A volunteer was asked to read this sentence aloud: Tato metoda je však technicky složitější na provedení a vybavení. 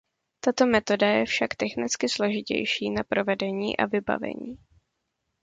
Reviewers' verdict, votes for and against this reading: accepted, 2, 0